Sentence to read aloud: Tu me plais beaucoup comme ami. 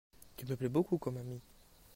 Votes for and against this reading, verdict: 1, 2, rejected